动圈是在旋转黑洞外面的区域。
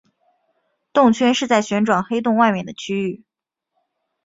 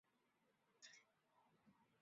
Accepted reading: first